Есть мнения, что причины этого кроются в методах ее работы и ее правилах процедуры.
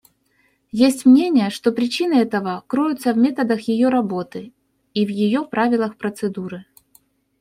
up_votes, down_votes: 0, 2